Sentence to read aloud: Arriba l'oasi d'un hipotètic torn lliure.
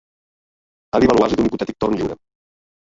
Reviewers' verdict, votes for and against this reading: rejected, 0, 2